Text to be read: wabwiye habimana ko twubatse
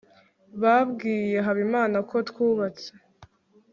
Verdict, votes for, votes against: rejected, 2, 3